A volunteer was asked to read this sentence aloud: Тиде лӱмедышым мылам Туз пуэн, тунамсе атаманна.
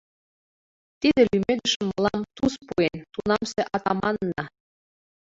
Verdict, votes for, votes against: rejected, 1, 2